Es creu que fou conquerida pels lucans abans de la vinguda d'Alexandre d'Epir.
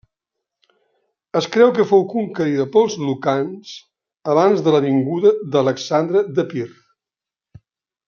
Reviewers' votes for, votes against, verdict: 2, 0, accepted